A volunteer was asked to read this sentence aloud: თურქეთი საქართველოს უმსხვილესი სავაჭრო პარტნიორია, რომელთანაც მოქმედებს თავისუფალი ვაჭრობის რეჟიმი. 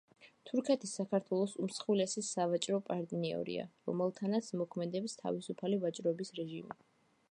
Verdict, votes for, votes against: accepted, 2, 0